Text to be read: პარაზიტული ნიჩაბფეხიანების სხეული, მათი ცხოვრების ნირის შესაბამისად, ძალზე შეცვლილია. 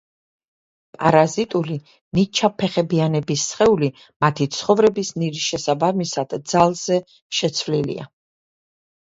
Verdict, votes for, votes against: rejected, 0, 2